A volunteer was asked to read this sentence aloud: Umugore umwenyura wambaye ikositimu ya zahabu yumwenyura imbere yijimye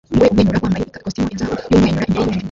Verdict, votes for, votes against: rejected, 0, 2